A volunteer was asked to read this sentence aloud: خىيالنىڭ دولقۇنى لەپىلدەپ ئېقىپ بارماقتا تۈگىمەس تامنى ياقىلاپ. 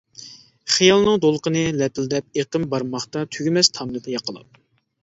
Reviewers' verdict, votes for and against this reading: rejected, 0, 2